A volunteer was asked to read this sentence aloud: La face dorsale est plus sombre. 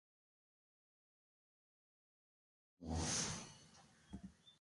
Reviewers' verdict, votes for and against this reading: rejected, 0, 2